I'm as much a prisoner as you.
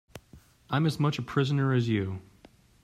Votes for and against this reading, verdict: 2, 0, accepted